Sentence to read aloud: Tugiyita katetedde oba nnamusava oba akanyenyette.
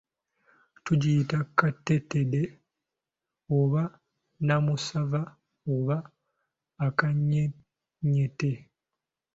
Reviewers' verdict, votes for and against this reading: accepted, 2, 0